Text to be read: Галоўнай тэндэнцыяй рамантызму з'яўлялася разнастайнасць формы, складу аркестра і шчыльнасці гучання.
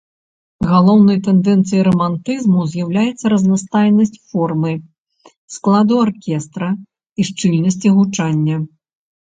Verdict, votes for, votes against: rejected, 0, 2